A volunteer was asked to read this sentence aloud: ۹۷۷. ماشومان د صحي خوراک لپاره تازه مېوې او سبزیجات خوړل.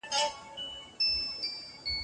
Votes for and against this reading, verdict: 0, 2, rejected